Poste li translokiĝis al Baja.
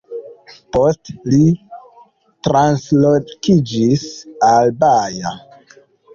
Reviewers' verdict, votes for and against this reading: accepted, 2, 1